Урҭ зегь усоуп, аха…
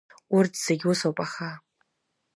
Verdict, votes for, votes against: accepted, 2, 0